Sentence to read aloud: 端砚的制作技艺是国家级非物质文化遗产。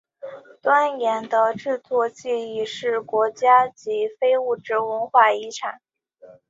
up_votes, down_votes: 2, 0